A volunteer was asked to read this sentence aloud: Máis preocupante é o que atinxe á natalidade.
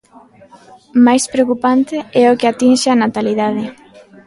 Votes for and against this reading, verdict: 2, 0, accepted